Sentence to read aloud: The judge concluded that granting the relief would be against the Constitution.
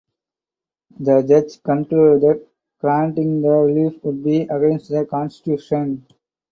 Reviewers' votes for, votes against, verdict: 0, 4, rejected